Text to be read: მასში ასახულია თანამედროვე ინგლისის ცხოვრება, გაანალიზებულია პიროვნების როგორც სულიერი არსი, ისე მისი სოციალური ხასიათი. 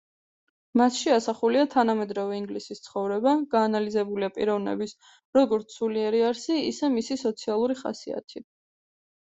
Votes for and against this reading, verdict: 2, 0, accepted